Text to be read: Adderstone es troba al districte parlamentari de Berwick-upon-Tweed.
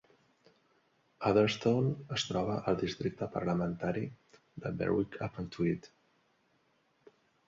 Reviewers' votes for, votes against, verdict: 2, 0, accepted